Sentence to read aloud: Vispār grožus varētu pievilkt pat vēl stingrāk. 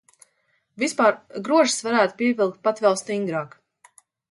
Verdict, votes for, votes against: accepted, 2, 0